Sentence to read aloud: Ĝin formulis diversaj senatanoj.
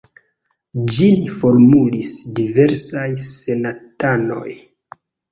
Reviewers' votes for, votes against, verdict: 2, 1, accepted